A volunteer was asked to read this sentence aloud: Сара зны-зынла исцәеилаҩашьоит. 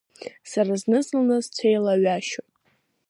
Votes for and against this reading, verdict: 2, 0, accepted